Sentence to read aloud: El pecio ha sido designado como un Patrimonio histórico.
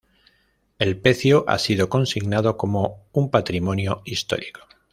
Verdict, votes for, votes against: rejected, 1, 2